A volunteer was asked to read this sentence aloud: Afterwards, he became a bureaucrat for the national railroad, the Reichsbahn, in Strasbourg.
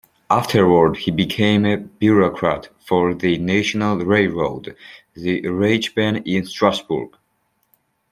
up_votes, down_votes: 2, 0